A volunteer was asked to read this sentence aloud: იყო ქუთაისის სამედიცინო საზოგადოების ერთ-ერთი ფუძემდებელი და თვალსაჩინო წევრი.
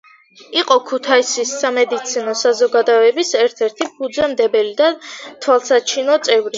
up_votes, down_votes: 2, 0